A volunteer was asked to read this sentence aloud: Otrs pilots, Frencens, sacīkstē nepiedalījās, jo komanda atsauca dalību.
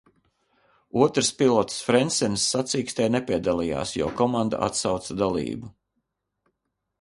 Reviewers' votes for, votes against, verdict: 4, 0, accepted